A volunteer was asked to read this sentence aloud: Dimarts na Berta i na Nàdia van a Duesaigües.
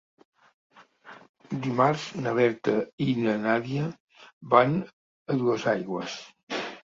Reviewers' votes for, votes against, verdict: 3, 1, accepted